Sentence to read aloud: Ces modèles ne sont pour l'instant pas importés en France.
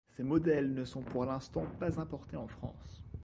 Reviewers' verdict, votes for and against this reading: accepted, 2, 0